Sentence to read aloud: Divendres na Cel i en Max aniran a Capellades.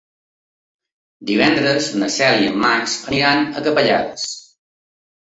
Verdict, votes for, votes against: accepted, 3, 0